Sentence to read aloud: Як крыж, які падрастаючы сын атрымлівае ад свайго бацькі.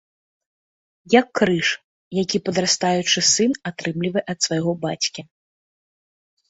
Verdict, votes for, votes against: accepted, 2, 0